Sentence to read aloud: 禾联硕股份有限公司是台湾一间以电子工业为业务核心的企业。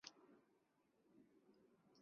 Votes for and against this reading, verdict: 1, 2, rejected